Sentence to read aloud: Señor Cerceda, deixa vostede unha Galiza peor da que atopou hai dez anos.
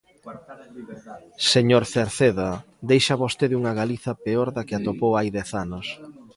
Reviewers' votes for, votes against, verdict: 2, 0, accepted